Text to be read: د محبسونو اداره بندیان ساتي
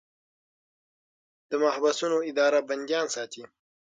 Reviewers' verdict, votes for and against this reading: accepted, 6, 0